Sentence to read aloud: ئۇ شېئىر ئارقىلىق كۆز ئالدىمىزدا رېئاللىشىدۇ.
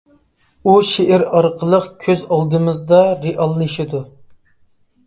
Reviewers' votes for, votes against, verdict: 2, 0, accepted